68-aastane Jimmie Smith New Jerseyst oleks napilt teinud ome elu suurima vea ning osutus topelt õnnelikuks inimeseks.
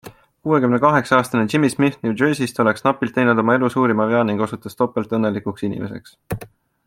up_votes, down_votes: 0, 2